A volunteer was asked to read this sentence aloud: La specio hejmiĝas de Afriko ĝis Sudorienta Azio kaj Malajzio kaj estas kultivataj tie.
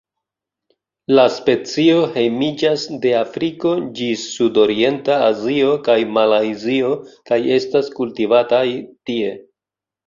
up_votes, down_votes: 2, 0